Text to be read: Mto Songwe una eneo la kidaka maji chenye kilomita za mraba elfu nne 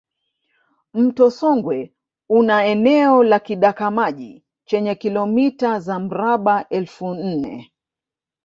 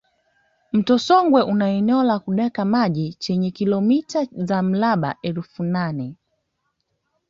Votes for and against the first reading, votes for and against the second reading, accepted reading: 1, 2, 2, 1, second